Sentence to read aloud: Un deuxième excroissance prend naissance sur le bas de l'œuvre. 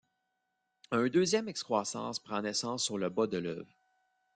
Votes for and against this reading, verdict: 1, 2, rejected